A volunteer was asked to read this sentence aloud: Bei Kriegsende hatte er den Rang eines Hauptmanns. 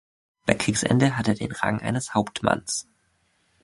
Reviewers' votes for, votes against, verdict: 2, 0, accepted